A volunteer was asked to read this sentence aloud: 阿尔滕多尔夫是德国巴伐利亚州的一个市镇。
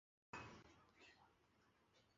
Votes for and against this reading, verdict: 1, 2, rejected